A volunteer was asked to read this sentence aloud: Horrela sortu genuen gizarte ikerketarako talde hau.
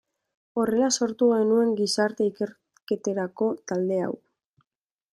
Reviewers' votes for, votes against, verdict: 1, 2, rejected